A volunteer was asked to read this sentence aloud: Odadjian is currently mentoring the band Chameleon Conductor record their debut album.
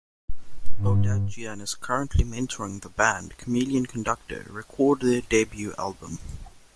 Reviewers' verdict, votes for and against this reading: accepted, 2, 0